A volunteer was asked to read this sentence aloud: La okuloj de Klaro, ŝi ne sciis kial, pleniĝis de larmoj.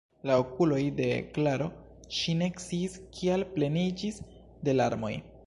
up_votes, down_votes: 1, 2